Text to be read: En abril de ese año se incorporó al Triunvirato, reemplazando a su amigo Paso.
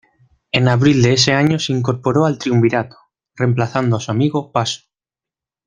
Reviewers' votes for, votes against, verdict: 2, 0, accepted